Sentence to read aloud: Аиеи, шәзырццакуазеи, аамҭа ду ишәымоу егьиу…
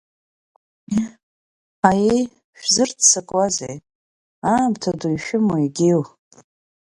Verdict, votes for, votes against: rejected, 2, 3